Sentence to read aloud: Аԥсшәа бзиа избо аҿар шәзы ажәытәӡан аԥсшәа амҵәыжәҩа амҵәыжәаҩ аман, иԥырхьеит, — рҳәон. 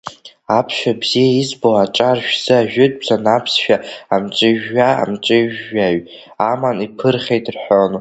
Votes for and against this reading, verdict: 2, 1, accepted